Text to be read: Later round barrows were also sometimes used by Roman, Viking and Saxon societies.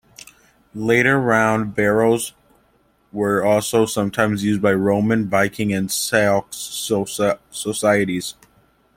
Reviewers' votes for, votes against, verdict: 1, 2, rejected